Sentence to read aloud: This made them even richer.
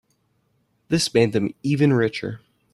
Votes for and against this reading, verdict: 2, 0, accepted